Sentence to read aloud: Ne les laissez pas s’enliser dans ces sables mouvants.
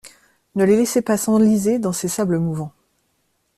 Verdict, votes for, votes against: accepted, 2, 0